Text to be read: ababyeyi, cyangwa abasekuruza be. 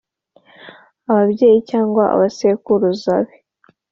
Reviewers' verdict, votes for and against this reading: accepted, 2, 0